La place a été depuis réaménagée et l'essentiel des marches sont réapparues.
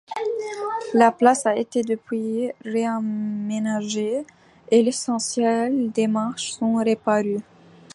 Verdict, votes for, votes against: rejected, 1, 2